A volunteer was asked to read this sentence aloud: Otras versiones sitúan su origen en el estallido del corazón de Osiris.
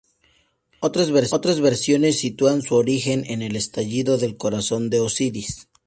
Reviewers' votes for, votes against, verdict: 2, 0, accepted